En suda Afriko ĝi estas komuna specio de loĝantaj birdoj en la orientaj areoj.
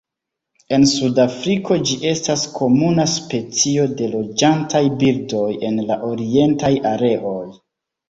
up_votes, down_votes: 2, 0